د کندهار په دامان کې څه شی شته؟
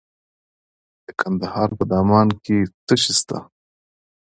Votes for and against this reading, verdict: 2, 0, accepted